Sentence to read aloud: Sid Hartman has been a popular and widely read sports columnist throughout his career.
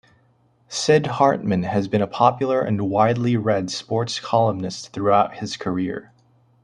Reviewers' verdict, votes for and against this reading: accepted, 2, 0